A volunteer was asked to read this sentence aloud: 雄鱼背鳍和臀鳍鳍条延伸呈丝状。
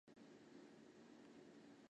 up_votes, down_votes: 0, 3